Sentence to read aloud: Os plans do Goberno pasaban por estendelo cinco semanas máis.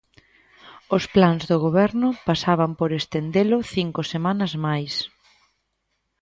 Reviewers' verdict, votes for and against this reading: accepted, 2, 0